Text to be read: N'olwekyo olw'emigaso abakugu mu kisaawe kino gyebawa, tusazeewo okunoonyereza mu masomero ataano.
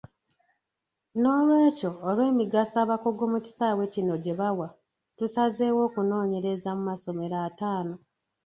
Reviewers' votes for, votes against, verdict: 2, 1, accepted